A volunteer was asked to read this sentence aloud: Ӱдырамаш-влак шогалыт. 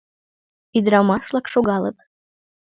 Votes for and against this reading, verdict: 2, 0, accepted